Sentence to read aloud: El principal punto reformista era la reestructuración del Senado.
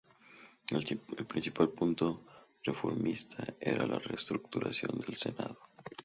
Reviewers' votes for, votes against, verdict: 0, 2, rejected